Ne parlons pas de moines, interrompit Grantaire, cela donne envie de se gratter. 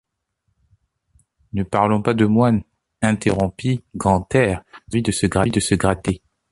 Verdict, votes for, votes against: rejected, 0, 2